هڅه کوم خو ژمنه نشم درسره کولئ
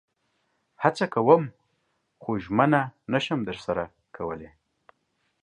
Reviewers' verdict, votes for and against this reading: accepted, 2, 0